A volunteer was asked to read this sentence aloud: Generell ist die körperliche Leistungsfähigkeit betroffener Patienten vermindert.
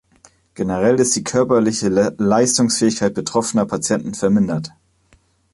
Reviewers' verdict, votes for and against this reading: rejected, 0, 2